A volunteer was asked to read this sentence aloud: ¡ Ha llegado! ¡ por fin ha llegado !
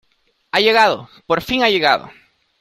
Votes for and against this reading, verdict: 2, 0, accepted